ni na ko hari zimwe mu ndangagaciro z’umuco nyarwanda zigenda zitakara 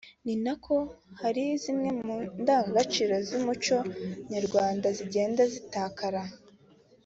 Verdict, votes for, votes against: accepted, 2, 0